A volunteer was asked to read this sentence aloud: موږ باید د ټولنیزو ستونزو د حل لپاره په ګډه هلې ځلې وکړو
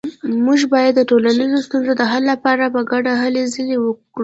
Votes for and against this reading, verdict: 2, 0, accepted